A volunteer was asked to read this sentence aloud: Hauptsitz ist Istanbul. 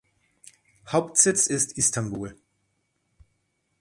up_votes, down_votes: 2, 0